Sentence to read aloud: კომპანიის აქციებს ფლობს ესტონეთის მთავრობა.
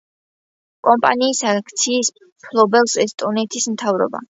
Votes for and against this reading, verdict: 0, 2, rejected